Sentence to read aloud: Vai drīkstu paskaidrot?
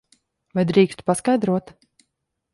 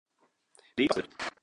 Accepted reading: first